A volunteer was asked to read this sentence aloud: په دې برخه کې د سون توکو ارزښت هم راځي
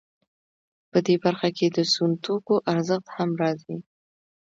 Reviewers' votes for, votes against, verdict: 2, 0, accepted